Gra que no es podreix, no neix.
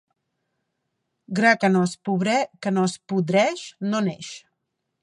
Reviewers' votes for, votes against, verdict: 0, 2, rejected